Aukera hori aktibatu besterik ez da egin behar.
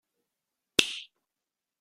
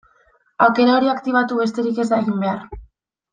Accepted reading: second